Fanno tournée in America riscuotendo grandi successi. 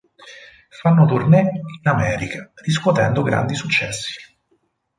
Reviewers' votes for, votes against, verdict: 4, 0, accepted